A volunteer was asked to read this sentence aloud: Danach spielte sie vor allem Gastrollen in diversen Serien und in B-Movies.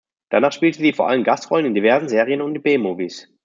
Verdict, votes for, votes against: accepted, 2, 1